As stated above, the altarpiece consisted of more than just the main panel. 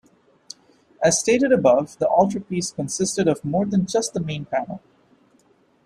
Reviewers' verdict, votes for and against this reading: accepted, 2, 0